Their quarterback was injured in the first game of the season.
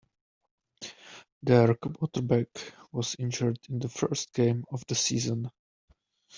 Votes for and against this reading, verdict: 1, 2, rejected